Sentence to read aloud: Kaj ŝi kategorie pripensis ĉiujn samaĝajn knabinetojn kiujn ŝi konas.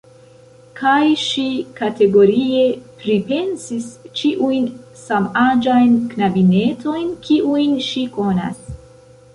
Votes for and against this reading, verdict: 1, 2, rejected